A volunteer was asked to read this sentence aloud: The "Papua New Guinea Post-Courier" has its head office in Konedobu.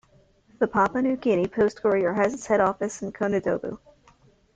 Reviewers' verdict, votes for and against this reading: accepted, 2, 0